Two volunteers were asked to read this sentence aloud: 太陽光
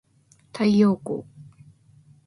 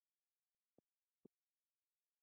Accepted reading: first